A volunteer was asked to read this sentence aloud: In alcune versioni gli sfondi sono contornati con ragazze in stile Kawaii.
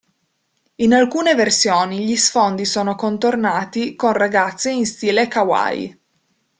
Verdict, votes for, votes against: accepted, 2, 0